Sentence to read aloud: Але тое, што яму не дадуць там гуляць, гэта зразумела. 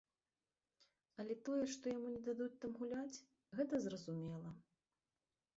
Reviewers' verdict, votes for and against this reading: rejected, 1, 2